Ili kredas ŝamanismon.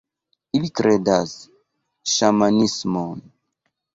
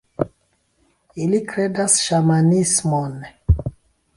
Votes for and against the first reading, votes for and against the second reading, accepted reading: 1, 2, 2, 1, second